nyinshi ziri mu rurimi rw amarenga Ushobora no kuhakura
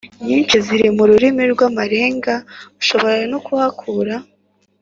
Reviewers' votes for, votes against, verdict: 2, 0, accepted